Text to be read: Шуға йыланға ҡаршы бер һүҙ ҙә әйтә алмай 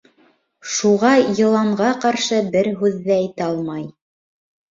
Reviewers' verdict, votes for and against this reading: rejected, 1, 2